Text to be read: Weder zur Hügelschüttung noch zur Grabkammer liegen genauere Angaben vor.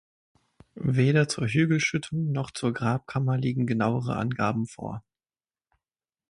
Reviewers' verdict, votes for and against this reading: accepted, 6, 0